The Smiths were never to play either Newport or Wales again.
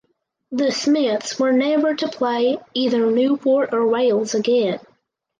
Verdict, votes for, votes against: accepted, 4, 0